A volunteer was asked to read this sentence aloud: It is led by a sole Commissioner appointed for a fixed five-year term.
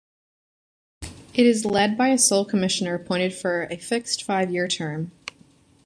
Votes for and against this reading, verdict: 2, 1, accepted